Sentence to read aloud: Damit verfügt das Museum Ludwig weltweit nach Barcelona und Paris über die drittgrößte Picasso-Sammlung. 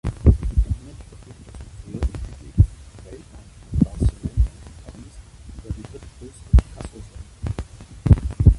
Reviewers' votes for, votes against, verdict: 0, 2, rejected